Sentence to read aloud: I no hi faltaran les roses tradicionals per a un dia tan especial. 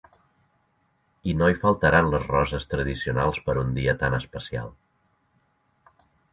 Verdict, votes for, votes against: accepted, 2, 1